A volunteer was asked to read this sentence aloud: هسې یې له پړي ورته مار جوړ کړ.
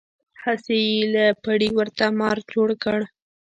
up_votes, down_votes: 1, 2